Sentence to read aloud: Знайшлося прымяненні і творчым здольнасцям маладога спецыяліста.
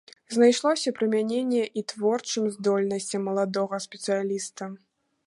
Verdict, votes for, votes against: accepted, 2, 0